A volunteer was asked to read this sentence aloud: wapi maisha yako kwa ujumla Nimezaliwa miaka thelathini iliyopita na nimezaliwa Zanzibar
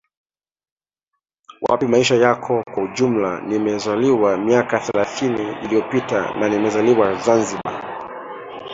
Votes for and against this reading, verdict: 2, 1, accepted